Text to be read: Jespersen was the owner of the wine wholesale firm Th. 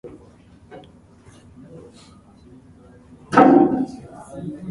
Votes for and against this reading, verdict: 0, 2, rejected